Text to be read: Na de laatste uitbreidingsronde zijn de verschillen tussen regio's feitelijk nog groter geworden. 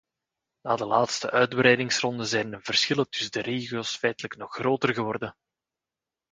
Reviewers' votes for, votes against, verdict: 0, 2, rejected